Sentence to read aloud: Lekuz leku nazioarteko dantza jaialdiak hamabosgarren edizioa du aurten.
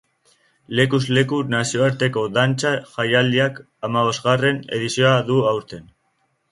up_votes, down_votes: 2, 0